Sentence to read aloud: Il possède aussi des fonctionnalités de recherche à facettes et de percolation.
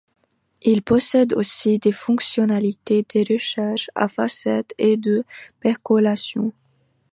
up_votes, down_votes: 3, 0